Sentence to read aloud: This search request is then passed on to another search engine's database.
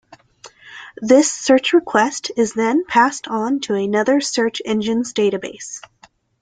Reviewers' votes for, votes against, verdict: 2, 0, accepted